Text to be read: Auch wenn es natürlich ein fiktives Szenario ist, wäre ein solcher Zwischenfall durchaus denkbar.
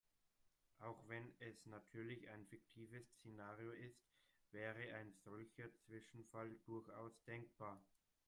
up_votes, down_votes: 0, 2